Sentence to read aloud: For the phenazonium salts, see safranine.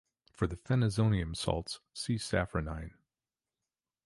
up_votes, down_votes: 2, 0